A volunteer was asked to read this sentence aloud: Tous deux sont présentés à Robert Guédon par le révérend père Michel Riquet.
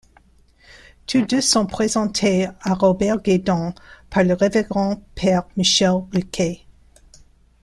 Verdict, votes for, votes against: accepted, 2, 0